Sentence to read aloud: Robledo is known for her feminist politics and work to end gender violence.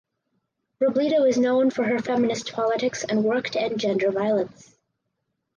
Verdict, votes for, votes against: accepted, 4, 2